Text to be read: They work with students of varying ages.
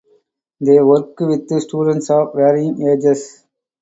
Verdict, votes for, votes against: rejected, 0, 2